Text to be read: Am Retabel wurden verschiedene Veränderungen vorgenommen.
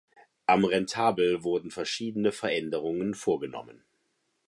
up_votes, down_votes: 1, 2